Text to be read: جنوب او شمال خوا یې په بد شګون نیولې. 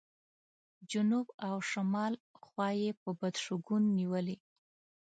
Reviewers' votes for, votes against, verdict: 2, 0, accepted